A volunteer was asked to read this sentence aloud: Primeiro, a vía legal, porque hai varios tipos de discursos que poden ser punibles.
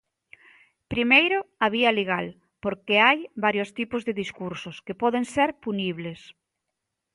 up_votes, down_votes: 2, 0